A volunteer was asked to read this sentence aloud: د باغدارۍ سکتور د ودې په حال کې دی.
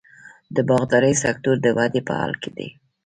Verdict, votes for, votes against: accepted, 2, 1